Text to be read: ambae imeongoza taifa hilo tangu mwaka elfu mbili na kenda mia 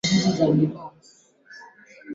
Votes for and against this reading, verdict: 0, 2, rejected